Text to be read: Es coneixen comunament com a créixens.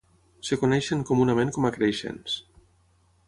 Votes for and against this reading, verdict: 0, 3, rejected